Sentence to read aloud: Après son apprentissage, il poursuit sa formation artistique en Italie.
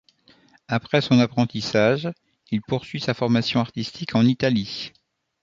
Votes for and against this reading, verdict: 2, 0, accepted